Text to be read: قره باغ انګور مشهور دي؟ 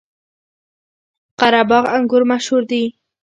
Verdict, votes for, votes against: rejected, 1, 2